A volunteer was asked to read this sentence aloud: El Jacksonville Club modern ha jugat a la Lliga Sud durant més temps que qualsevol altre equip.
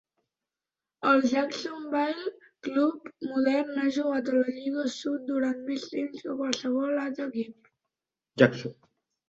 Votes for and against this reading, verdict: 1, 2, rejected